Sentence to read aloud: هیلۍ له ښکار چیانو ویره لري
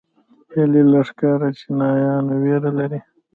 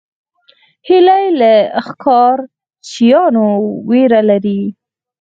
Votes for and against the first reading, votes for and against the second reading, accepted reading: 0, 2, 4, 0, second